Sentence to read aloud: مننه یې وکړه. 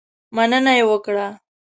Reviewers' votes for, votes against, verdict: 2, 0, accepted